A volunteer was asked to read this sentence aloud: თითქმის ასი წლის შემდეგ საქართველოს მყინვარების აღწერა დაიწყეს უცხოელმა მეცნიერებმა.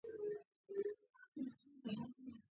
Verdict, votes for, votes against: rejected, 1, 2